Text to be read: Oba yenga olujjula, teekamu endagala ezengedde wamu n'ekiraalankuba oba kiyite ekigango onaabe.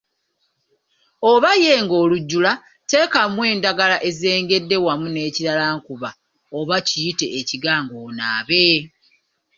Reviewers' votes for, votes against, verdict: 2, 0, accepted